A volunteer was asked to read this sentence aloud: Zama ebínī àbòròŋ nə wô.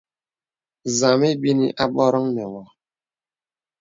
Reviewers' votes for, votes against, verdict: 2, 0, accepted